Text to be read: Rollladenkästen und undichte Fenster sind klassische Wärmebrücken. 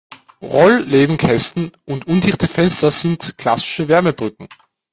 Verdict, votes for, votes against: rejected, 1, 2